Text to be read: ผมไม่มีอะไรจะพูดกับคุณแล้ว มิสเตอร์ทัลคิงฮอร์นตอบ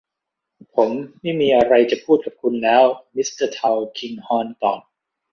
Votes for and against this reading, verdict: 2, 0, accepted